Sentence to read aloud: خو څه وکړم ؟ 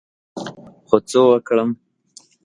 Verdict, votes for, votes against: accepted, 2, 0